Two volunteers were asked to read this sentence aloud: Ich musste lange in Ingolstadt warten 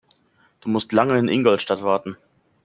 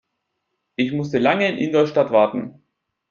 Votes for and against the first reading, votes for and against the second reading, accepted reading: 0, 2, 2, 0, second